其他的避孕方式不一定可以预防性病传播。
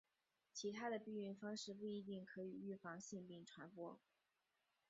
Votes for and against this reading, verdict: 2, 0, accepted